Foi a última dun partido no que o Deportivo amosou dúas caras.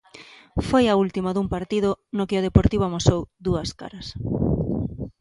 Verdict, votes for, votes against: accepted, 2, 0